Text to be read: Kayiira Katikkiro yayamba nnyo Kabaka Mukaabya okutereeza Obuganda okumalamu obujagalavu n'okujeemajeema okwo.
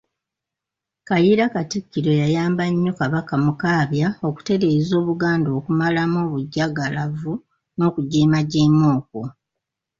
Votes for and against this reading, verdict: 2, 0, accepted